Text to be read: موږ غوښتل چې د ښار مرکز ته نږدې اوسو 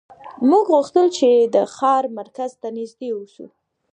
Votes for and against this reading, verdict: 1, 2, rejected